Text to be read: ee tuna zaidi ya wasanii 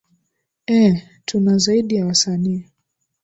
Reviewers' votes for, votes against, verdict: 2, 0, accepted